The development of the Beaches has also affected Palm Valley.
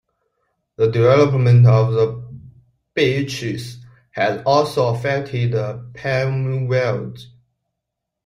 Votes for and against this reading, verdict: 2, 1, accepted